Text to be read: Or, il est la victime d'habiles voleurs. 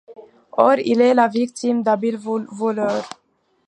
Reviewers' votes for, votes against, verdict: 1, 2, rejected